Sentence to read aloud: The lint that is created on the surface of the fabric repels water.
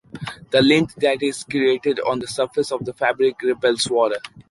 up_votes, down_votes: 3, 0